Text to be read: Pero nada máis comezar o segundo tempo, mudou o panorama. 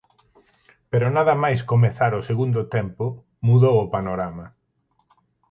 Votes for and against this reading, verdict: 4, 0, accepted